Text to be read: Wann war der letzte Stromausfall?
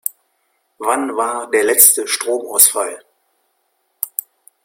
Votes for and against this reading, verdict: 1, 2, rejected